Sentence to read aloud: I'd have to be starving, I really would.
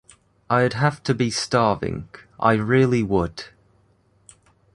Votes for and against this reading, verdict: 2, 0, accepted